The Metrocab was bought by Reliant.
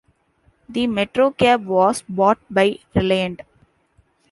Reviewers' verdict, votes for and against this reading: rejected, 1, 2